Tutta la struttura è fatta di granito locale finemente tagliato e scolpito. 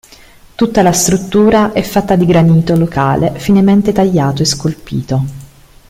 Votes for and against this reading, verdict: 2, 0, accepted